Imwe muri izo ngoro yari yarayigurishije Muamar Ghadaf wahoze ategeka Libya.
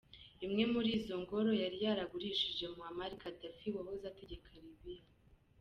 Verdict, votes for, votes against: rejected, 1, 2